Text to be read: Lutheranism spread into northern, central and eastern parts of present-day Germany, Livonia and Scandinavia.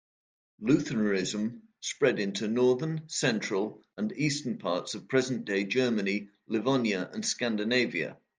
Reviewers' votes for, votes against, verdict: 1, 2, rejected